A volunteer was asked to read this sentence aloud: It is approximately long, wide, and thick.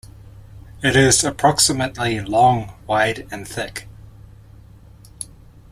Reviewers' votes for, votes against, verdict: 2, 0, accepted